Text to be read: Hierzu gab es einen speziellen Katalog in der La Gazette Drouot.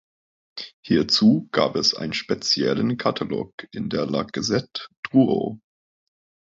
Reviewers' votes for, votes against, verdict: 2, 0, accepted